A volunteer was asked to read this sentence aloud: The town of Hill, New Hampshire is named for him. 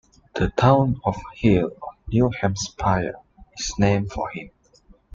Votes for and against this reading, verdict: 1, 2, rejected